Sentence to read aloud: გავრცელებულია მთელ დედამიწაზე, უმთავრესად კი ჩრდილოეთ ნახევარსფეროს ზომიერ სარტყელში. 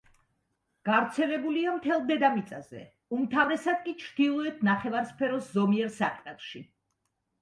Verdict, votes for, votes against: accepted, 2, 0